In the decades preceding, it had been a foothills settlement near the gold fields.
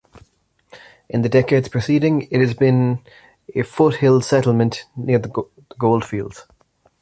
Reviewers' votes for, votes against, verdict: 1, 2, rejected